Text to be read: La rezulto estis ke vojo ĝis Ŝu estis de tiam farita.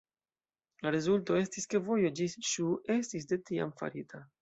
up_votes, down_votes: 2, 0